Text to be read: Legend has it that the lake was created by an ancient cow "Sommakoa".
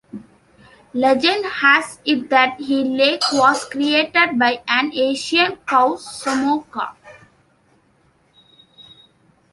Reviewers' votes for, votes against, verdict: 1, 2, rejected